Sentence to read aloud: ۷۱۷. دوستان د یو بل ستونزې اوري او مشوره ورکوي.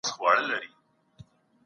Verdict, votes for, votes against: rejected, 0, 2